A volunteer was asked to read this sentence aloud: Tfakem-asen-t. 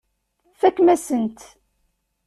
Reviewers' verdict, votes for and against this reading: accepted, 2, 0